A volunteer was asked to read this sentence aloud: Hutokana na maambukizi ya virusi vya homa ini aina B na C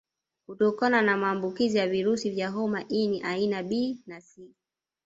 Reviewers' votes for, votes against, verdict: 1, 2, rejected